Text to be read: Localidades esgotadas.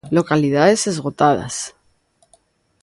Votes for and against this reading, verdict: 3, 0, accepted